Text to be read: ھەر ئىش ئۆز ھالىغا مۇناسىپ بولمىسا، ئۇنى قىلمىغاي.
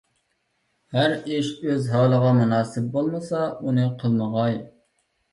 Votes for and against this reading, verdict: 2, 0, accepted